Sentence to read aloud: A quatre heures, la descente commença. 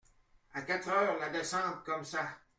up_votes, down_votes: 1, 2